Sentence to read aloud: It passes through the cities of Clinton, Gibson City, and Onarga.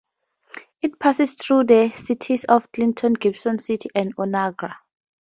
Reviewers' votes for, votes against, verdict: 4, 0, accepted